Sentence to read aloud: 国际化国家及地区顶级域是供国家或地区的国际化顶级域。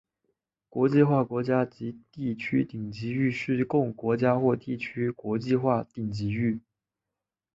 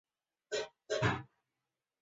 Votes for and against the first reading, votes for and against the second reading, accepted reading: 2, 1, 0, 3, first